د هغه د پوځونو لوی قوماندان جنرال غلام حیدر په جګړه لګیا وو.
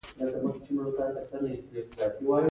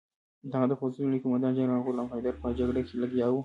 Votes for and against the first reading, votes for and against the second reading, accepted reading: 0, 2, 2, 1, second